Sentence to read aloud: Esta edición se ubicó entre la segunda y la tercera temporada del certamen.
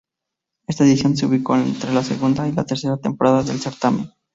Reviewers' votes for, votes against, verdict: 4, 0, accepted